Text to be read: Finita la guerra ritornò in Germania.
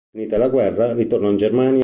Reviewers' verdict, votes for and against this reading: rejected, 1, 2